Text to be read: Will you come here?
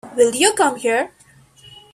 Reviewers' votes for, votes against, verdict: 1, 2, rejected